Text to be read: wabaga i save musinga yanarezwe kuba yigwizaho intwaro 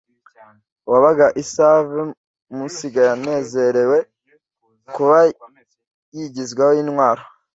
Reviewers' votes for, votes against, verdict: 0, 2, rejected